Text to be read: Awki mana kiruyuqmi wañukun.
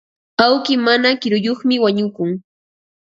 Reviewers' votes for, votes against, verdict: 2, 0, accepted